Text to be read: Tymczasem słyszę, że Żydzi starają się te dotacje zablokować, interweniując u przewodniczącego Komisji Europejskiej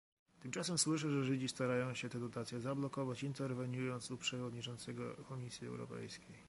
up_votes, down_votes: 2, 0